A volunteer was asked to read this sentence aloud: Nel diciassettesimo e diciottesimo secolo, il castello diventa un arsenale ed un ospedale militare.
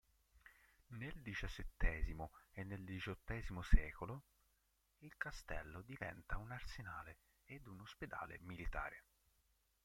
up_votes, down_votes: 1, 2